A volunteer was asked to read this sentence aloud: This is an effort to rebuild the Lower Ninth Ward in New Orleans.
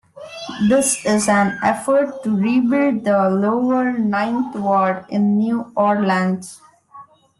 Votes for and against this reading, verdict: 0, 2, rejected